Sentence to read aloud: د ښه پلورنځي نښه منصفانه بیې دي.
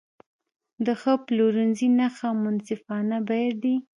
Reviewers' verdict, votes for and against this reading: accepted, 3, 1